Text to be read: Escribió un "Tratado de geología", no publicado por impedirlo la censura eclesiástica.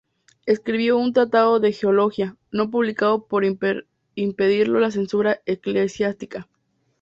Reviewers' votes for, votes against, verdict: 2, 0, accepted